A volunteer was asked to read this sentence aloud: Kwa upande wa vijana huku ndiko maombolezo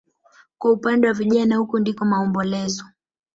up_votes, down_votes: 3, 0